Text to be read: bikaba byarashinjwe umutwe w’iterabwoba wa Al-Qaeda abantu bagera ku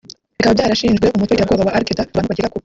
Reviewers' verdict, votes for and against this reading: rejected, 1, 2